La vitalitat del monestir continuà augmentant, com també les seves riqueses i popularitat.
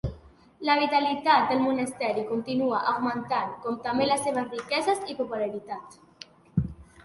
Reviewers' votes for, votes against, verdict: 1, 2, rejected